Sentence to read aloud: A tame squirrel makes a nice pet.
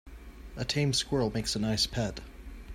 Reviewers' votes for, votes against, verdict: 2, 0, accepted